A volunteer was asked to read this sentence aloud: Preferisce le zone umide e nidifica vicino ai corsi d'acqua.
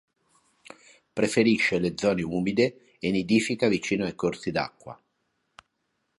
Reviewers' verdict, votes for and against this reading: accepted, 2, 0